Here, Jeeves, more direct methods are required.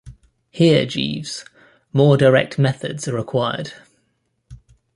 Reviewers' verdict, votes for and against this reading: accepted, 2, 0